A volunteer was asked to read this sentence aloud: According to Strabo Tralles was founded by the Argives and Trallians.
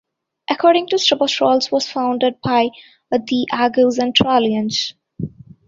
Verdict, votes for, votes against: rejected, 1, 2